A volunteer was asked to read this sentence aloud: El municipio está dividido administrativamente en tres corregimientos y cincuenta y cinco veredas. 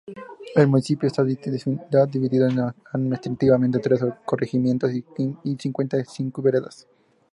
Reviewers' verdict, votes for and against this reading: rejected, 0, 2